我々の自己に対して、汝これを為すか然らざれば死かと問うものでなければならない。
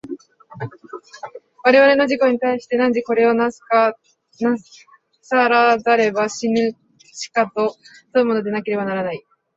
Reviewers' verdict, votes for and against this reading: rejected, 0, 2